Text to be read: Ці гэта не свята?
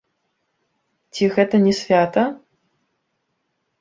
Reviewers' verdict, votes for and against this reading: rejected, 0, 2